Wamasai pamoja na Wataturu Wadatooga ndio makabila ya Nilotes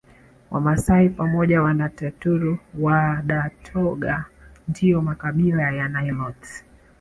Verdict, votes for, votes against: rejected, 1, 2